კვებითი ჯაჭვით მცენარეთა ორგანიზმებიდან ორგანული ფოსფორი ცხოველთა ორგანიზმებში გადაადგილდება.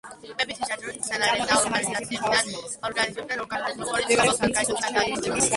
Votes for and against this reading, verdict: 0, 2, rejected